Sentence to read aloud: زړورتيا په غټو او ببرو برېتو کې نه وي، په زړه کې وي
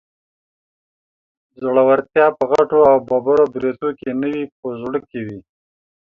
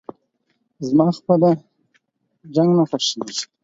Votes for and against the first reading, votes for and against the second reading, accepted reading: 2, 0, 0, 4, first